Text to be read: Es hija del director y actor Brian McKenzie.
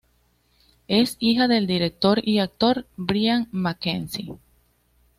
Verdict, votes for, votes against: accepted, 2, 0